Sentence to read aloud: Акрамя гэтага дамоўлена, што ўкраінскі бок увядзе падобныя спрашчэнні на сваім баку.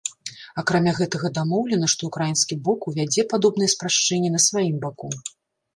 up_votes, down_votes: 2, 0